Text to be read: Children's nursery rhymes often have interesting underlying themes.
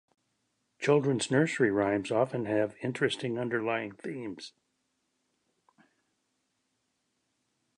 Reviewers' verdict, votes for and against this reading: accepted, 2, 0